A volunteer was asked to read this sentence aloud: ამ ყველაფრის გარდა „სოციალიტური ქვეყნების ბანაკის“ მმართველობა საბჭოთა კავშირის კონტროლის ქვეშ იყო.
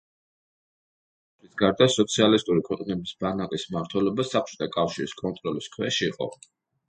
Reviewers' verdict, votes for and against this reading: rejected, 0, 2